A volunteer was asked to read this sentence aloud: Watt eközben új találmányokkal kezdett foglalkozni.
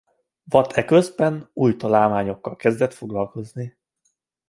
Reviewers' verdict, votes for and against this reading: accepted, 2, 0